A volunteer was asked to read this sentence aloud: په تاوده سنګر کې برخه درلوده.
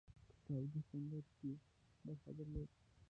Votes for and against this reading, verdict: 0, 2, rejected